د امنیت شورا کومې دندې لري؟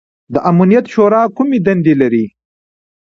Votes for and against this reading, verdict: 2, 0, accepted